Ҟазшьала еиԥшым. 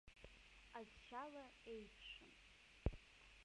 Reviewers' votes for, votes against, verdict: 0, 2, rejected